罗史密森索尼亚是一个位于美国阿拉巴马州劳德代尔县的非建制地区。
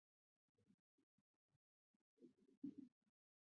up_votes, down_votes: 1, 3